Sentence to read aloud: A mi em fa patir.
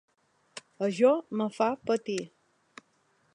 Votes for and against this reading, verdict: 1, 4, rejected